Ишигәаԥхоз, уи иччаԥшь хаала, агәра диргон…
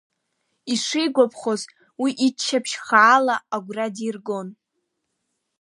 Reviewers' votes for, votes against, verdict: 2, 0, accepted